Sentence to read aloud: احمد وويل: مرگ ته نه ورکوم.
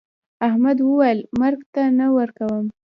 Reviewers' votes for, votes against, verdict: 2, 0, accepted